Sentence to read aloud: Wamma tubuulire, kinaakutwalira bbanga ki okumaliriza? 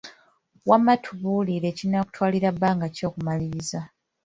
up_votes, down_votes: 2, 0